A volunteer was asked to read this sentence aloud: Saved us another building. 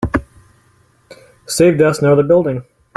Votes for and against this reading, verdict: 2, 0, accepted